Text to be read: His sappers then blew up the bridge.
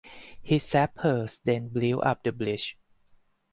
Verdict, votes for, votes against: accepted, 4, 2